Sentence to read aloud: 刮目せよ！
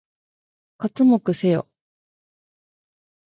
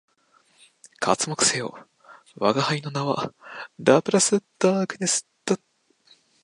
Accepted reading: first